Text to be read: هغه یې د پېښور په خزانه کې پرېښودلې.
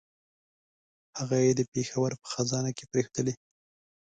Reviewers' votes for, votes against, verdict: 2, 0, accepted